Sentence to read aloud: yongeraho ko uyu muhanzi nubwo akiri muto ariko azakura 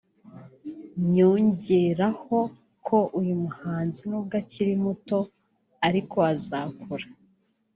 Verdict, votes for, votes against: rejected, 0, 2